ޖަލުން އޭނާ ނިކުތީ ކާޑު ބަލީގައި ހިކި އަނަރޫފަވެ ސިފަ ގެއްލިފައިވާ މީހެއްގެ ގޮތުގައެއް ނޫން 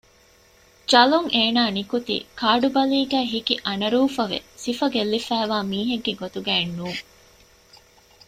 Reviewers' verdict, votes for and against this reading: accepted, 2, 0